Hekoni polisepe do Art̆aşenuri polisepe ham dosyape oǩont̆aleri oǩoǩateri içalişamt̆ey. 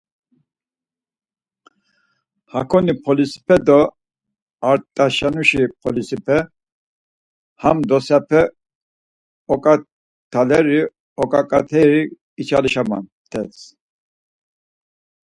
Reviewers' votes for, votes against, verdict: 2, 4, rejected